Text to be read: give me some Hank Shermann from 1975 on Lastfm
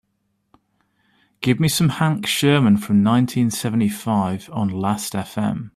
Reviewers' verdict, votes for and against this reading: rejected, 0, 2